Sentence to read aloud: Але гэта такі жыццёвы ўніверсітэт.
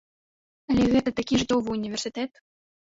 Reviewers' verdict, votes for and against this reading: rejected, 1, 2